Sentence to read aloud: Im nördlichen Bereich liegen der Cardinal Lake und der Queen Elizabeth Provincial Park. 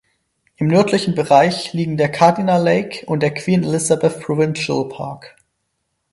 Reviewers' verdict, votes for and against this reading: accepted, 6, 0